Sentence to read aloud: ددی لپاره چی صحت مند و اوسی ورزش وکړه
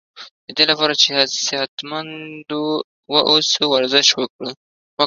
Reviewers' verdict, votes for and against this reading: rejected, 1, 2